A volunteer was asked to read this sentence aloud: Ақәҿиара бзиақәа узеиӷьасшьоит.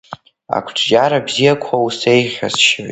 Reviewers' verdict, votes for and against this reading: accepted, 2, 1